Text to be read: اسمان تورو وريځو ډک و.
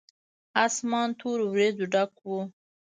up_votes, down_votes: 0, 2